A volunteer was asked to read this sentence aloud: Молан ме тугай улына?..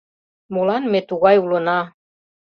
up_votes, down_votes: 2, 0